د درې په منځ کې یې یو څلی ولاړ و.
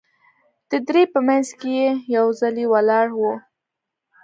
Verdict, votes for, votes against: accepted, 2, 0